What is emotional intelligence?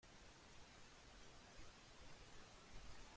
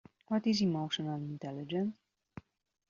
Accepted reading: second